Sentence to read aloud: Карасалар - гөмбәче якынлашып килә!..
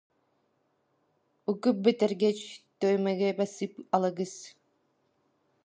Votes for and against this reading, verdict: 0, 2, rejected